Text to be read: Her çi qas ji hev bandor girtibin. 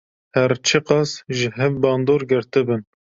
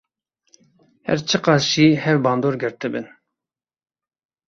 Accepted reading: first